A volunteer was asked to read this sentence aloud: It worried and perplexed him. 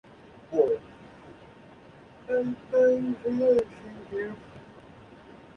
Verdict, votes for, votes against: rejected, 0, 2